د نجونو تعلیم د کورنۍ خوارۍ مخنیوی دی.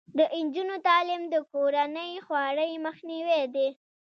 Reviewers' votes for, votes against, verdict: 1, 2, rejected